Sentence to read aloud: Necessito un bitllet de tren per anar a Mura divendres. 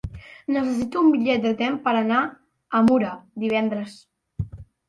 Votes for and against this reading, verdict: 0, 2, rejected